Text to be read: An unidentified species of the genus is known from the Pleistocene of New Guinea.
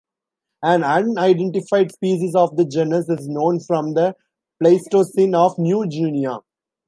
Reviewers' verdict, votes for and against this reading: rejected, 1, 2